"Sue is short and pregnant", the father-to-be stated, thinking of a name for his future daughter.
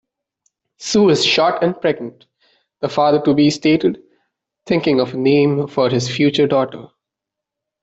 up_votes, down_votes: 2, 0